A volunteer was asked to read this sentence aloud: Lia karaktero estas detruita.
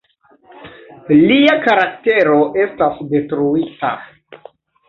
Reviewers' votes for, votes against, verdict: 0, 2, rejected